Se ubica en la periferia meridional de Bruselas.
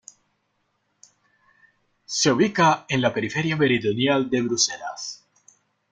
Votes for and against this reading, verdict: 1, 2, rejected